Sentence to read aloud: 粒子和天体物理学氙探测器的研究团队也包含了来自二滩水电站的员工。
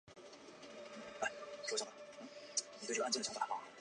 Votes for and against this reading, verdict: 5, 4, accepted